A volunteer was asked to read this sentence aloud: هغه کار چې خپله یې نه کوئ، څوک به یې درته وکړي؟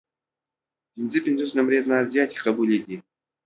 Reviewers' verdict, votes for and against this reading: rejected, 0, 2